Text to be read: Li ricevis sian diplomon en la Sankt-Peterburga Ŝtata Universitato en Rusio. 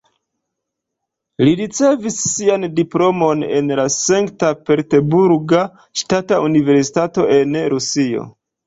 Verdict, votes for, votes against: rejected, 0, 2